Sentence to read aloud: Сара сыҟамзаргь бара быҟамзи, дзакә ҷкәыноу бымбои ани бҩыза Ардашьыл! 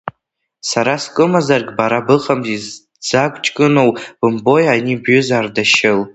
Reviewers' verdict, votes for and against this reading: rejected, 1, 2